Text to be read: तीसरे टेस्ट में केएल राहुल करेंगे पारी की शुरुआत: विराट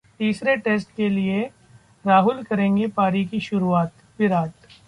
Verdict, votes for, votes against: rejected, 1, 2